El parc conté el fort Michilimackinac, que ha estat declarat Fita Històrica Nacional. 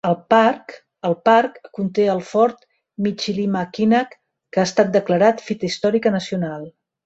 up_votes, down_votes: 0, 2